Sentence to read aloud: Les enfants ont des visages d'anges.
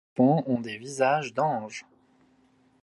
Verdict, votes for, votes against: rejected, 1, 2